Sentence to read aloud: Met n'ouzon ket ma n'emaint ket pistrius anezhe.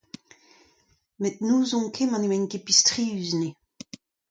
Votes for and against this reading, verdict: 2, 0, accepted